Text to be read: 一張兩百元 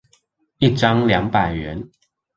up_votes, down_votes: 2, 0